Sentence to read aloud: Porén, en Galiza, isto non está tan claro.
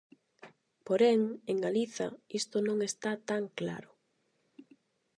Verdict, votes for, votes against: accepted, 8, 0